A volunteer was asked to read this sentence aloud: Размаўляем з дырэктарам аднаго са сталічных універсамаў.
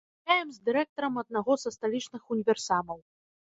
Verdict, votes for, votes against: rejected, 0, 2